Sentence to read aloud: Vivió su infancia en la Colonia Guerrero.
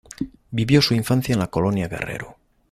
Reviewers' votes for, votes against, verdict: 2, 0, accepted